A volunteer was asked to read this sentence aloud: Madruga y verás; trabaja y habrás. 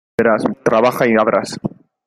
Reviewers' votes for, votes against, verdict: 0, 2, rejected